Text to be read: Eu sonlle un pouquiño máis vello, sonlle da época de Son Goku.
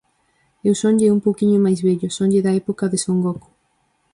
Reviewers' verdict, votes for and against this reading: accepted, 4, 0